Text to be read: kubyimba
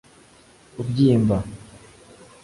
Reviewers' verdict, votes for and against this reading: accepted, 2, 0